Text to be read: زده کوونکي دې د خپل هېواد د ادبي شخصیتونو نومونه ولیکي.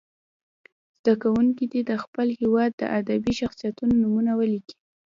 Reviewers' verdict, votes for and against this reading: rejected, 0, 2